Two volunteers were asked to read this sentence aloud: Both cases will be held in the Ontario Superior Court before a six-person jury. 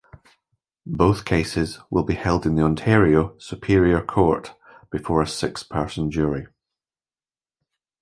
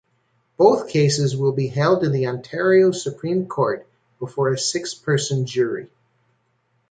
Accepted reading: first